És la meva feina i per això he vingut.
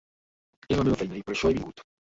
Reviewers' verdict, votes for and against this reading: rejected, 0, 2